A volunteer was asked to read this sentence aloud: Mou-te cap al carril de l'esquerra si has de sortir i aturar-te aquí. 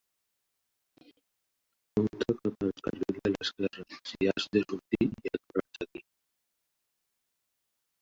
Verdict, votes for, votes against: rejected, 0, 3